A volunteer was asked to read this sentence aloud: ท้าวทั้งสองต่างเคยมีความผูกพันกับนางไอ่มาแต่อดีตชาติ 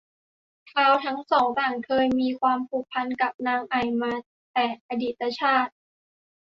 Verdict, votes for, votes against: accepted, 2, 0